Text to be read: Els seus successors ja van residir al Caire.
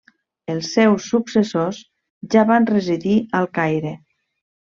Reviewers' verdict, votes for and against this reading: accepted, 3, 0